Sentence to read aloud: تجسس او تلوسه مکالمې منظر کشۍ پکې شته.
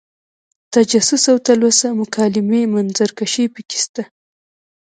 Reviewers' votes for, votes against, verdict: 1, 2, rejected